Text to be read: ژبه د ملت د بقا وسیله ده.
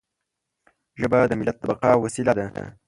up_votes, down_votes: 0, 2